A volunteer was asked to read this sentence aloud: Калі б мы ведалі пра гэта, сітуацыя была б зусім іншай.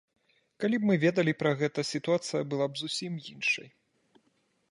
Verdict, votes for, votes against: accepted, 2, 0